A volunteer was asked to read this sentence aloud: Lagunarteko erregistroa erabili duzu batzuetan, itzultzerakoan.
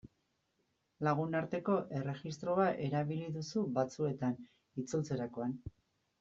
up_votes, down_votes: 0, 2